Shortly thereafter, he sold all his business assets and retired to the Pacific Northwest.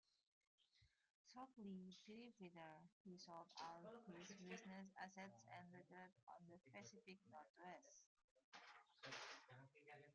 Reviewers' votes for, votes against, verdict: 0, 2, rejected